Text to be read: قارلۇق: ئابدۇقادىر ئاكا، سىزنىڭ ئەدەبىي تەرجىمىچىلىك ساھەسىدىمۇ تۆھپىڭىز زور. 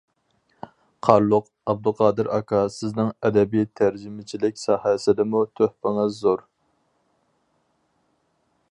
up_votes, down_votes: 4, 0